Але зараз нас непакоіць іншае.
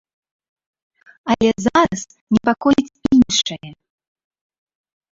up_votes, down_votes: 0, 2